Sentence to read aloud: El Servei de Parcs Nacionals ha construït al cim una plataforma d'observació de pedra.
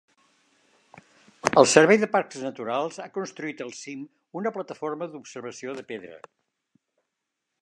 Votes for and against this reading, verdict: 1, 2, rejected